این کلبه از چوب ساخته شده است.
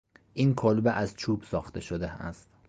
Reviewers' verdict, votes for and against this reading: accepted, 3, 0